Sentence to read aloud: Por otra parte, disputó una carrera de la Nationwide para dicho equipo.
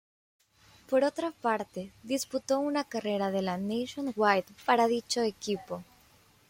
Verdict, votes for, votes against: accepted, 2, 0